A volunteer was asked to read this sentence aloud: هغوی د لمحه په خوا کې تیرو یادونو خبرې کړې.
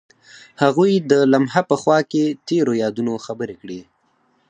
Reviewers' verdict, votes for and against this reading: accepted, 4, 0